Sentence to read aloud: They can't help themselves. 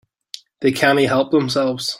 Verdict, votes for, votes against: rejected, 0, 2